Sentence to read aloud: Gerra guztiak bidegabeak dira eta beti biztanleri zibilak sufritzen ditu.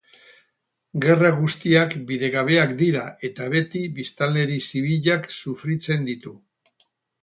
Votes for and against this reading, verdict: 2, 2, rejected